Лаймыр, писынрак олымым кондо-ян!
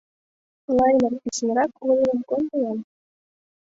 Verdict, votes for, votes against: accepted, 2, 1